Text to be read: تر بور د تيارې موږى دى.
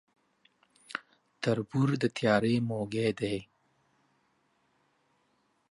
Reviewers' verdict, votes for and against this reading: accepted, 2, 0